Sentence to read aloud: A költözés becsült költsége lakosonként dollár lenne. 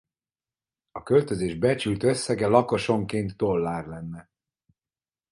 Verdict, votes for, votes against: rejected, 2, 4